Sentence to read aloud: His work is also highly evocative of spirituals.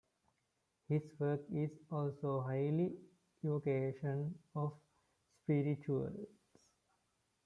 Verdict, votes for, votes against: rejected, 0, 2